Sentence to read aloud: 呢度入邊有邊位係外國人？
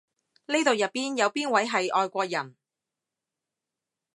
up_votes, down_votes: 2, 0